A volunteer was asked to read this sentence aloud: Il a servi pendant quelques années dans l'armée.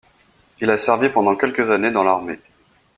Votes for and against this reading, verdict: 2, 0, accepted